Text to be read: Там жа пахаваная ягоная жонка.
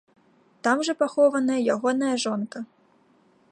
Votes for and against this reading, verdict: 1, 2, rejected